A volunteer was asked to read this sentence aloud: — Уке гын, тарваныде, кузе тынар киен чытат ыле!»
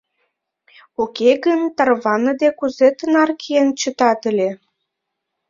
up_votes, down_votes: 2, 0